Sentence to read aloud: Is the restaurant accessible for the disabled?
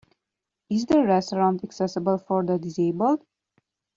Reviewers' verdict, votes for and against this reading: accepted, 2, 0